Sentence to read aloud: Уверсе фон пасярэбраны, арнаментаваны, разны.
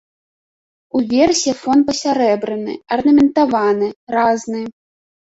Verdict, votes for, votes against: rejected, 0, 2